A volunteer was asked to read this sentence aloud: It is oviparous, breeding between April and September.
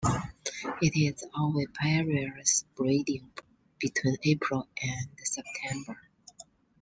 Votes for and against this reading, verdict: 2, 0, accepted